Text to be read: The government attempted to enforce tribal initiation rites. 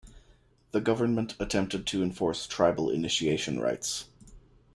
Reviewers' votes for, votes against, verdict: 2, 0, accepted